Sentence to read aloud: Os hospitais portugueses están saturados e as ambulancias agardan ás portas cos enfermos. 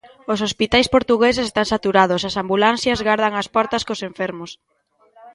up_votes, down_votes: 0, 2